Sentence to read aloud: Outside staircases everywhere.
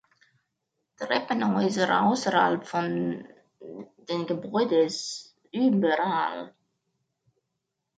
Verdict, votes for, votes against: rejected, 0, 2